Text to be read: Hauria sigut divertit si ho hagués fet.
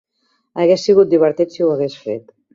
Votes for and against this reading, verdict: 2, 4, rejected